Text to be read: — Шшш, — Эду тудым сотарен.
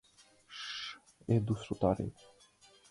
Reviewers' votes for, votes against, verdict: 0, 4, rejected